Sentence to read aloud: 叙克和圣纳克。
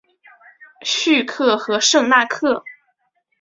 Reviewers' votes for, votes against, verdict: 2, 1, accepted